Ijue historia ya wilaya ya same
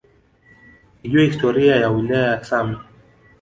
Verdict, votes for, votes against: rejected, 1, 2